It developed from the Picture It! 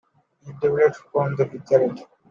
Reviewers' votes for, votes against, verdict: 2, 1, accepted